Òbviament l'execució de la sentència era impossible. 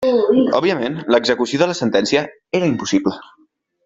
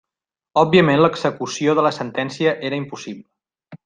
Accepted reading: first